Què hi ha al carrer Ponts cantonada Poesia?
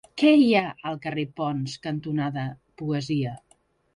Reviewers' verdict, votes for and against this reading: rejected, 1, 2